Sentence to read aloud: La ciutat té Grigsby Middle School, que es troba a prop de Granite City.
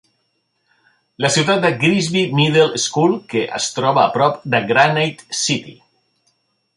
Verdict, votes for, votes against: rejected, 1, 3